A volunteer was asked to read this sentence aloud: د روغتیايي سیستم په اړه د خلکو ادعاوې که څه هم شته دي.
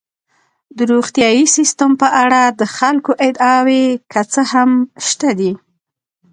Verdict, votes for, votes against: rejected, 1, 2